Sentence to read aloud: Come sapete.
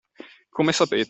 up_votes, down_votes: 2, 0